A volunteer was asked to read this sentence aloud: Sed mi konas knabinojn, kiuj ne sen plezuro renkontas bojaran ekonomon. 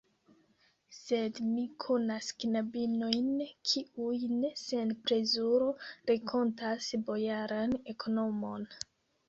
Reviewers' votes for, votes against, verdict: 1, 2, rejected